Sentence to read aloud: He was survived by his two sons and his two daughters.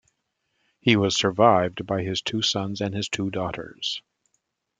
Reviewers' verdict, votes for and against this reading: accepted, 2, 0